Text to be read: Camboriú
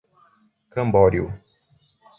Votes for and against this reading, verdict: 1, 2, rejected